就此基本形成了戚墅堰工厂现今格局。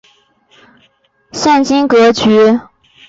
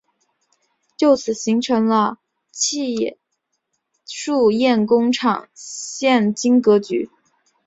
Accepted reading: second